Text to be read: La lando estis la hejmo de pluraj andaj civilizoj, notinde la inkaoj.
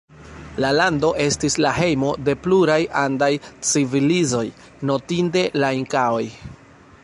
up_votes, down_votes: 2, 0